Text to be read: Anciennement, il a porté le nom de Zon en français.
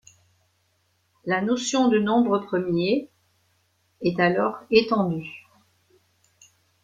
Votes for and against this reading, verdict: 0, 2, rejected